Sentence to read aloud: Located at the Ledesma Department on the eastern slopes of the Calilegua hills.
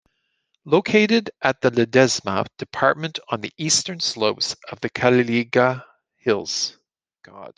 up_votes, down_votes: 1, 2